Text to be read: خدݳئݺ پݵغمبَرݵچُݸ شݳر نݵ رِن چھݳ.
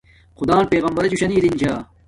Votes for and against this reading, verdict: 1, 2, rejected